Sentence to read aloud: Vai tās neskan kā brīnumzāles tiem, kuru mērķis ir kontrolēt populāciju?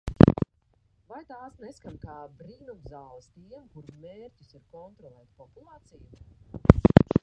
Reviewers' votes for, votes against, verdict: 0, 2, rejected